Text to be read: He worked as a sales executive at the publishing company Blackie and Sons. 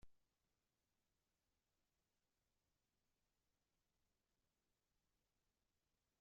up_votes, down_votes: 0, 2